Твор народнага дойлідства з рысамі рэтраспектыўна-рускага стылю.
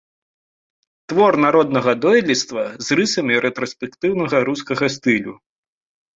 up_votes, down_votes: 1, 2